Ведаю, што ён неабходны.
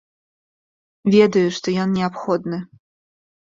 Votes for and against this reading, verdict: 2, 0, accepted